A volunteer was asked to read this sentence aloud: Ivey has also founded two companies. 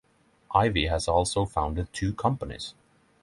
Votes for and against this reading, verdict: 3, 0, accepted